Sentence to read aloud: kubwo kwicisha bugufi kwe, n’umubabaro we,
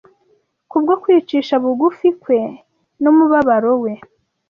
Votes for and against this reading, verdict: 2, 0, accepted